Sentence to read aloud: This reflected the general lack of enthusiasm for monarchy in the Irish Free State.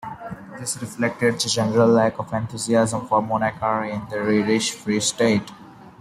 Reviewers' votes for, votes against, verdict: 0, 2, rejected